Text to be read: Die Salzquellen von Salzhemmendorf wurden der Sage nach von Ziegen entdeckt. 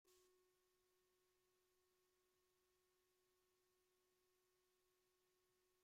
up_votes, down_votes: 0, 2